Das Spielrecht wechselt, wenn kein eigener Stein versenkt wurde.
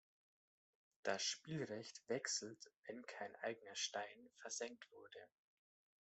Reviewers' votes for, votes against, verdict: 2, 1, accepted